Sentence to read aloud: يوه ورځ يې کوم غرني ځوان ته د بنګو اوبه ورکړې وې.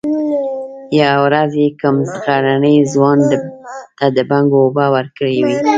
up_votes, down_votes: 3, 0